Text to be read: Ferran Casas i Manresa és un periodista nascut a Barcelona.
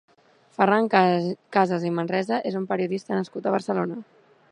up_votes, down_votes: 0, 2